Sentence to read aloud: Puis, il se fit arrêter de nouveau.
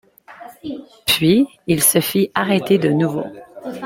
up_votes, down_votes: 1, 2